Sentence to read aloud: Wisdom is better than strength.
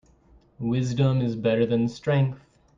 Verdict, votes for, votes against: accepted, 2, 0